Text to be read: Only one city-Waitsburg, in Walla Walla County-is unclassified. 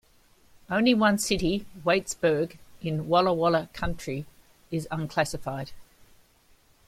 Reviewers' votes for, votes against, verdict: 0, 2, rejected